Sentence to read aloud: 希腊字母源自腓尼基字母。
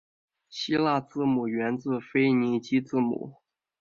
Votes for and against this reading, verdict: 3, 0, accepted